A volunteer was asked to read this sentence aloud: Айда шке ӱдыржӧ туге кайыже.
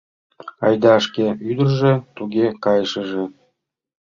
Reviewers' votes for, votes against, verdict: 1, 2, rejected